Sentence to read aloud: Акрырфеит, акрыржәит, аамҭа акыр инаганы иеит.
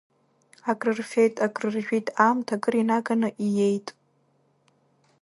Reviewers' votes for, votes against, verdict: 2, 0, accepted